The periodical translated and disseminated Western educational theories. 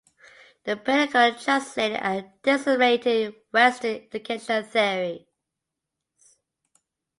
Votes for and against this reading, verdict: 1, 2, rejected